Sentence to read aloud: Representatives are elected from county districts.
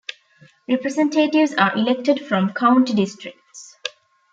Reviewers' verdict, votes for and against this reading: rejected, 0, 2